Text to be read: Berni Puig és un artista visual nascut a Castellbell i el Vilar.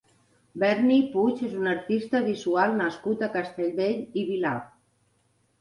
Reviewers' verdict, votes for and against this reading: rejected, 1, 2